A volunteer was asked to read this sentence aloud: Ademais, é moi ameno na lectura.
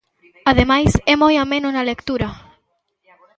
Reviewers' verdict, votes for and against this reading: rejected, 1, 2